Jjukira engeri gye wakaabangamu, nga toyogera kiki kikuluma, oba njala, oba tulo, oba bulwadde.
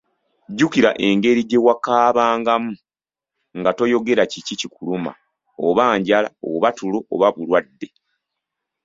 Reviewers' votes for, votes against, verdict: 2, 0, accepted